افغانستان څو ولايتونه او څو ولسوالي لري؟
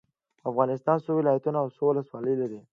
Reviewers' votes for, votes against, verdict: 2, 0, accepted